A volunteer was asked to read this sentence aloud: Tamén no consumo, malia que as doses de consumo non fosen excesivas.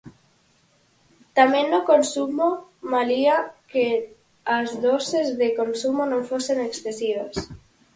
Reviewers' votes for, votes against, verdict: 0, 4, rejected